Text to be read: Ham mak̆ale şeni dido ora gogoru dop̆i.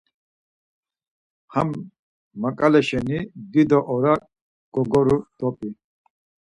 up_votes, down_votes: 4, 0